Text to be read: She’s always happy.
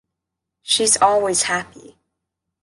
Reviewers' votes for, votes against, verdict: 0, 2, rejected